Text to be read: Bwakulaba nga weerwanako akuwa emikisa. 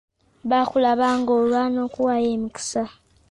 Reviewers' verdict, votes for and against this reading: rejected, 0, 2